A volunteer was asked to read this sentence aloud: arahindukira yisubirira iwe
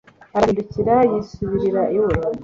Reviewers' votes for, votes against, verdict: 2, 0, accepted